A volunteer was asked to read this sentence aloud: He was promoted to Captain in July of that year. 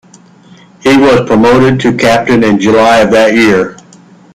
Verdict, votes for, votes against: rejected, 1, 2